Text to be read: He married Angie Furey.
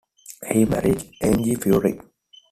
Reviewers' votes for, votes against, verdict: 2, 0, accepted